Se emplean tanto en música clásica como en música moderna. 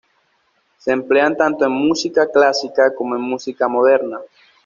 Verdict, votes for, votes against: accepted, 2, 0